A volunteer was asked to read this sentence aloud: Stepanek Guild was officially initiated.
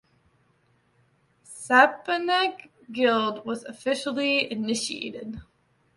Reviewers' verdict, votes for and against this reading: accepted, 2, 1